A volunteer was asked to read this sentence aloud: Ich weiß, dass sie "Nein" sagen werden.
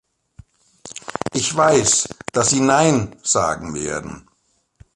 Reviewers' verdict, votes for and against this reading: accepted, 2, 0